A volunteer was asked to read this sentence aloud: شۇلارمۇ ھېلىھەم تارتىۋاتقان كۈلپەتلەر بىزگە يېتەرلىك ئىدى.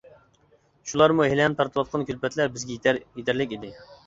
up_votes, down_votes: 1, 2